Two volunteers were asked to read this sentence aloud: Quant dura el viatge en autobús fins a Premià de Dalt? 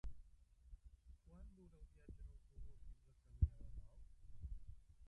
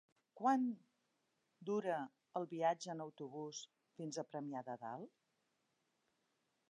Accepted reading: second